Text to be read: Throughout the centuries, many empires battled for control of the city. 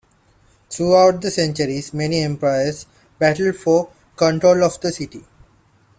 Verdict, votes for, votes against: accepted, 2, 1